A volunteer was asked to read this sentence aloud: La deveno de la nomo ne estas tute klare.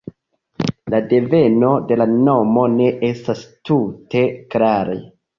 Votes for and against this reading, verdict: 0, 2, rejected